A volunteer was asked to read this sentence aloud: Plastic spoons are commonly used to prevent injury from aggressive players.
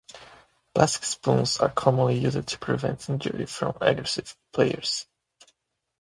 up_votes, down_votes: 2, 1